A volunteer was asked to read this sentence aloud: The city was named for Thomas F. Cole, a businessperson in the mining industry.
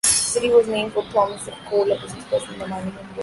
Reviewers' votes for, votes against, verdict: 0, 2, rejected